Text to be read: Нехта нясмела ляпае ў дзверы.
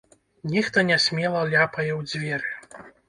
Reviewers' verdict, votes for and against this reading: accepted, 2, 0